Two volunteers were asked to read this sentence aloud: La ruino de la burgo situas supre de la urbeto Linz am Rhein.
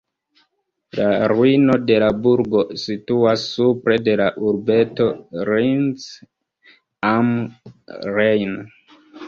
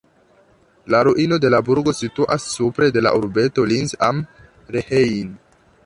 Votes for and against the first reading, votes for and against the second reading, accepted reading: 1, 2, 2, 0, second